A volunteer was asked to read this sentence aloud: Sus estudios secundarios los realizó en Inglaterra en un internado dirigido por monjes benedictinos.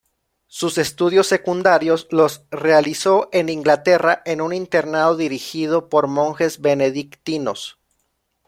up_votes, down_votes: 2, 0